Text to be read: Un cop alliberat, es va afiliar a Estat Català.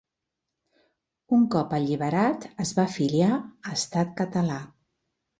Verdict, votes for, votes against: accepted, 2, 0